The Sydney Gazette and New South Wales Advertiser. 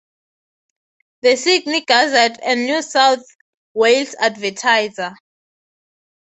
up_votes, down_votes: 6, 0